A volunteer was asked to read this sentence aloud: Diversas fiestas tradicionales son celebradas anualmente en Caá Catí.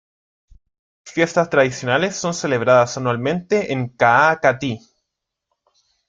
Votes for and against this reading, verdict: 0, 2, rejected